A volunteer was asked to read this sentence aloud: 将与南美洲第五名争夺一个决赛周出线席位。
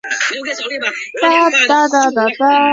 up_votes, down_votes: 0, 4